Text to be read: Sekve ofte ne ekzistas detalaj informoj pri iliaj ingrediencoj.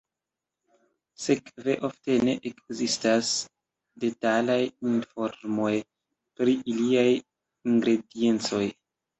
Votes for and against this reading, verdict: 2, 0, accepted